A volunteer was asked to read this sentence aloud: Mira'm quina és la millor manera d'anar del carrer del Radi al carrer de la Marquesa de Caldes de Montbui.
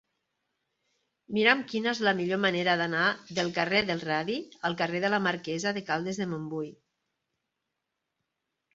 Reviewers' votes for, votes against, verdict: 4, 0, accepted